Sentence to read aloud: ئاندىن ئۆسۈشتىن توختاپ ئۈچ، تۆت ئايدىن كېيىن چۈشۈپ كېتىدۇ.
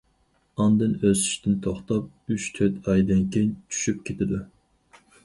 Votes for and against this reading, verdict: 4, 0, accepted